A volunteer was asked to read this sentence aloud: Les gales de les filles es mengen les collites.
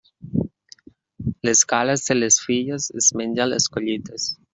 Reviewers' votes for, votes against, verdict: 0, 2, rejected